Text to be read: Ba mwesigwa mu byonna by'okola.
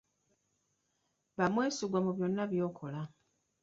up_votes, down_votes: 1, 2